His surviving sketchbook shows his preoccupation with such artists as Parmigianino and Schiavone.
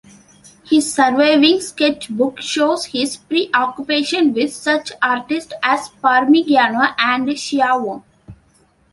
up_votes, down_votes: 2, 0